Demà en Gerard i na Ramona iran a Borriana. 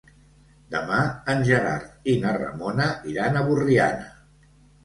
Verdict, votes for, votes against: accepted, 2, 0